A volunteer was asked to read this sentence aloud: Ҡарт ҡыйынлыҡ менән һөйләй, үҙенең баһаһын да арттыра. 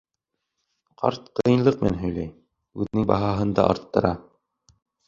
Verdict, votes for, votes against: accepted, 2, 1